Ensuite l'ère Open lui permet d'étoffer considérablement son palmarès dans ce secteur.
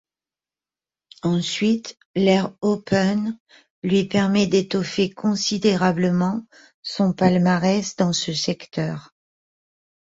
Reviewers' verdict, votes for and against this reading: accepted, 2, 0